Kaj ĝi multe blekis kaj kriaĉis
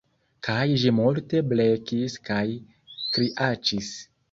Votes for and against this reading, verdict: 0, 2, rejected